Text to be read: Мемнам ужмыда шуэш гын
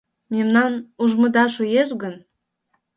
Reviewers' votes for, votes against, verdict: 2, 0, accepted